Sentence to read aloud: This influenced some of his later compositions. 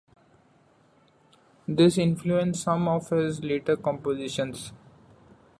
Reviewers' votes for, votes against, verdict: 2, 0, accepted